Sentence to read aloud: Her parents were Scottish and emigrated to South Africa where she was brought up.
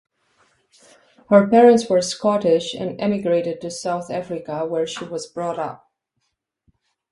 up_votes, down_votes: 2, 0